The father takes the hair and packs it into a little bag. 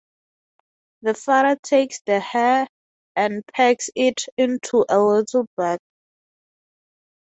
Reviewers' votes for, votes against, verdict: 3, 0, accepted